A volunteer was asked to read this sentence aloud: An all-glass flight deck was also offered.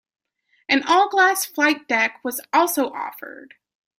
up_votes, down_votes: 2, 0